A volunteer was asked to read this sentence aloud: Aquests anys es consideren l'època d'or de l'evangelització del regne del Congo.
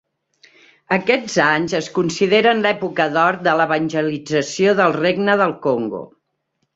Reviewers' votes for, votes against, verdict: 3, 1, accepted